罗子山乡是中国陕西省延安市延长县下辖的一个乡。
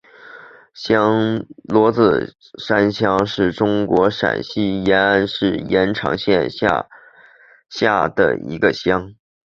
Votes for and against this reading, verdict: 2, 4, rejected